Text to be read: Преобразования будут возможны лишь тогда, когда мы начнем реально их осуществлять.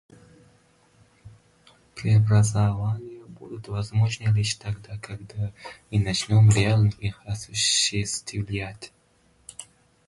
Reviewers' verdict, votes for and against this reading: rejected, 0, 2